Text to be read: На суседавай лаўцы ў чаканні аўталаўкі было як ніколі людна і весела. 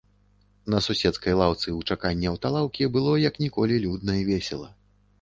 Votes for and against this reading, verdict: 0, 2, rejected